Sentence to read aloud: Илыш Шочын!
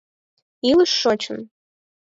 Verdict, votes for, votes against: accepted, 4, 0